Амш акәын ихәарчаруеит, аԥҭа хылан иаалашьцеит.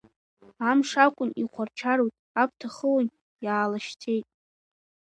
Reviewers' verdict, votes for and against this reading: rejected, 0, 2